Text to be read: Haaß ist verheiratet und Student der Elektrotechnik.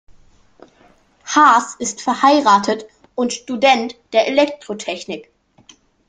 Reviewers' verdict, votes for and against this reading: accepted, 2, 0